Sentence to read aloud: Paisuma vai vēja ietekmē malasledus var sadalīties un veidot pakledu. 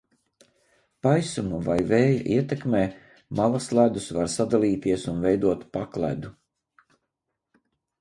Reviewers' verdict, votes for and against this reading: rejected, 0, 2